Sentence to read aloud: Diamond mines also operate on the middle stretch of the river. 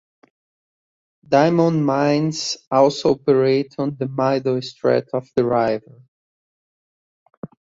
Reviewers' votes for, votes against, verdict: 1, 2, rejected